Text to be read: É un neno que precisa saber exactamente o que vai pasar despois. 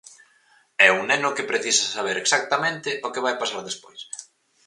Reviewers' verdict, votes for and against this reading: accepted, 4, 0